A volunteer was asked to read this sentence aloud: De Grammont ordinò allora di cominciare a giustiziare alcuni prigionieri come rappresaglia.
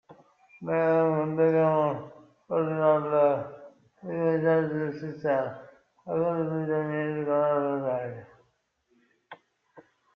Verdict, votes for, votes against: rejected, 0, 2